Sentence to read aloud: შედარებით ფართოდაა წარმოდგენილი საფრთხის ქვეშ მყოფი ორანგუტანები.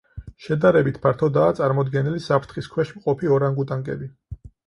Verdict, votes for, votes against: rejected, 0, 4